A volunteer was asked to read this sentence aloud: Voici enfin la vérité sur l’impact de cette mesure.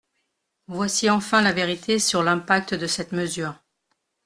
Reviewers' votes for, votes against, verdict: 2, 0, accepted